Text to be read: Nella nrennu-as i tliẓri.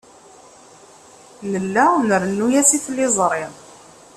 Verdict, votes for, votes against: accepted, 2, 0